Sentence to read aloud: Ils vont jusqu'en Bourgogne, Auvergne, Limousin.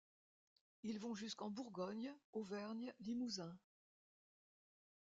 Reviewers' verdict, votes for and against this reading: accepted, 2, 1